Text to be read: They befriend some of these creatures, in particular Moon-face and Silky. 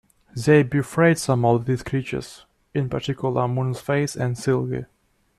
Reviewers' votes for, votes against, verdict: 1, 2, rejected